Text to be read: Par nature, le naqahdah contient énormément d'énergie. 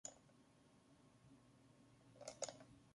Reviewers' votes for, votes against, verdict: 0, 2, rejected